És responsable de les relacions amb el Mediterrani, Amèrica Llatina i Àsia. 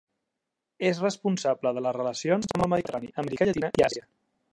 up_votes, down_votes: 0, 2